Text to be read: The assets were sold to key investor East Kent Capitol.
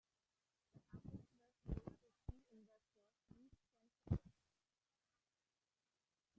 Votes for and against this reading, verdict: 0, 2, rejected